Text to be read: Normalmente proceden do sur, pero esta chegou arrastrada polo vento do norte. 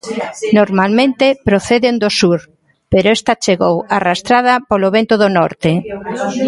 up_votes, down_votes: 0, 2